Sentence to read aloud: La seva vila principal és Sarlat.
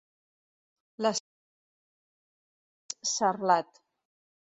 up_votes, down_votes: 1, 2